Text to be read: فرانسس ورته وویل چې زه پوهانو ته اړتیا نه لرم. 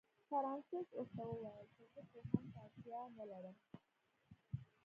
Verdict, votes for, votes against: rejected, 1, 2